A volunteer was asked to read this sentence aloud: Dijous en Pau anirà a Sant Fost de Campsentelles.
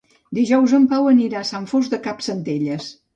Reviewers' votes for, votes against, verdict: 2, 0, accepted